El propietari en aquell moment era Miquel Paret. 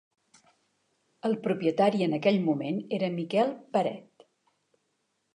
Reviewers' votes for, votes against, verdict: 4, 0, accepted